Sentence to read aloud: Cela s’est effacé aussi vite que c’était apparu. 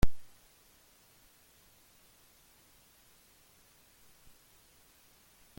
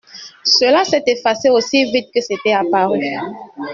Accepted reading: second